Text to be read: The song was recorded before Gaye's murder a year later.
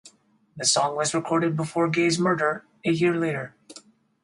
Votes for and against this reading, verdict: 2, 4, rejected